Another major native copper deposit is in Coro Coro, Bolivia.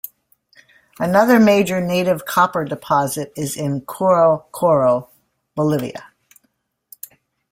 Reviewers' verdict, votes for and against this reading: accepted, 2, 0